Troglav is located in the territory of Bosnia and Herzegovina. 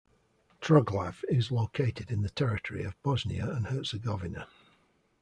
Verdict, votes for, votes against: accepted, 2, 0